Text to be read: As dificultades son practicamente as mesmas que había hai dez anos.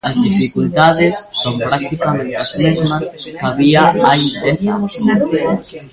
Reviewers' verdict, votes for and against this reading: rejected, 0, 2